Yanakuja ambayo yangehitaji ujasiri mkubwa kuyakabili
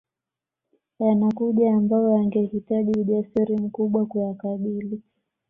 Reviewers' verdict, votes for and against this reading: accepted, 2, 0